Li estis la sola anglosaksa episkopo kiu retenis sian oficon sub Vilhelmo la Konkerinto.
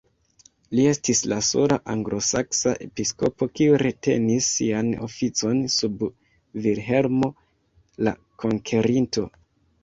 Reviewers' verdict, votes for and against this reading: rejected, 1, 2